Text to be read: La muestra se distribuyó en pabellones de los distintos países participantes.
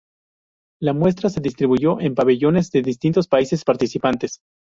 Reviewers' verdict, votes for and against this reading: rejected, 0, 2